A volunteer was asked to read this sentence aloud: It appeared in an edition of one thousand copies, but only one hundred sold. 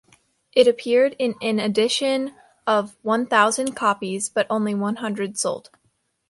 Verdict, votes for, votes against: accepted, 2, 0